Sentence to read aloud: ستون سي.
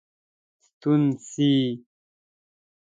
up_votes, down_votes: 2, 0